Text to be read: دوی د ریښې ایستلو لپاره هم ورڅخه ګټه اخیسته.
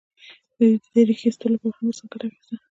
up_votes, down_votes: 2, 0